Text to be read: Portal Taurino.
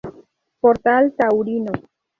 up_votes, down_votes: 2, 0